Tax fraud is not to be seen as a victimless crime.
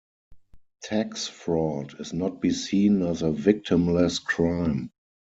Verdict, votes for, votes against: rejected, 0, 4